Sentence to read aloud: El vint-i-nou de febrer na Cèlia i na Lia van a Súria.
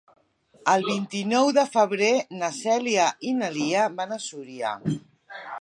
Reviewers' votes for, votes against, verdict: 3, 1, accepted